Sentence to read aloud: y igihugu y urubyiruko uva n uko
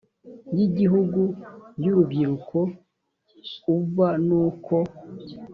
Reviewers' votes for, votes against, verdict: 4, 0, accepted